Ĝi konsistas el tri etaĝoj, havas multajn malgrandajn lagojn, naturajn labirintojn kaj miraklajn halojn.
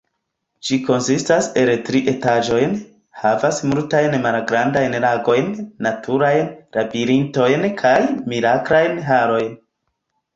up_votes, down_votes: 0, 2